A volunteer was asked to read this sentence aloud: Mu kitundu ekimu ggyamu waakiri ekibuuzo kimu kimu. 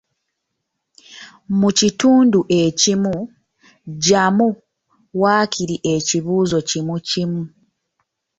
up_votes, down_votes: 2, 1